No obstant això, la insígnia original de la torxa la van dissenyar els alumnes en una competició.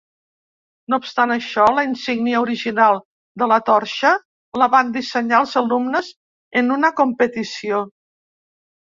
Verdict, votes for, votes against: accepted, 3, 0